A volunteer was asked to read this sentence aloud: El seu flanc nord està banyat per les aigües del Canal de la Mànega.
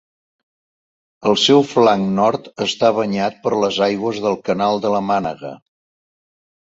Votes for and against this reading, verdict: 2, 0, accepted